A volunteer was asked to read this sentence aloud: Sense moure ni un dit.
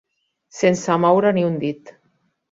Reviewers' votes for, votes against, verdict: 2, 0, accepted